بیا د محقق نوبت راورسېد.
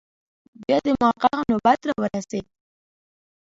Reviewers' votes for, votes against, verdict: 0, 2, rejected